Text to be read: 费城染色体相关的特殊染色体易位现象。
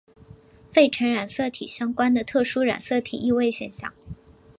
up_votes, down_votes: 3, 1